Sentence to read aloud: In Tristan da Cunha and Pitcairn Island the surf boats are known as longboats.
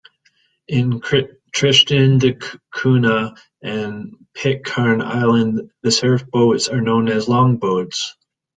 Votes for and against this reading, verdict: 1, 2, rejected